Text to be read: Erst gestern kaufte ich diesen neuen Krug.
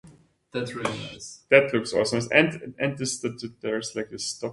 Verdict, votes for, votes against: rejected, 0, 2